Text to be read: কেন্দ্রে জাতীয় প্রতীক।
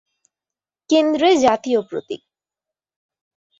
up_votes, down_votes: 5, 0